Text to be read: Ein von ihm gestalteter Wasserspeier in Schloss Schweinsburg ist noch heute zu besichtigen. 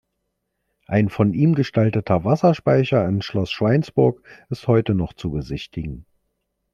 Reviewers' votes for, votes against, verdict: 0, 2, rejected